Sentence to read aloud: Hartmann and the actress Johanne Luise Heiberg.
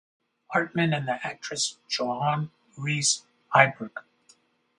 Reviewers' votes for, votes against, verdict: 2, 2, rejected